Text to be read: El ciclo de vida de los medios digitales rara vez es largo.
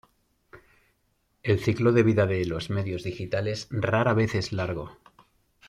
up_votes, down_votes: 2, 0